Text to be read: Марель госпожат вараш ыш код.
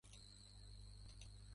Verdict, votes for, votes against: rejected, 0, 2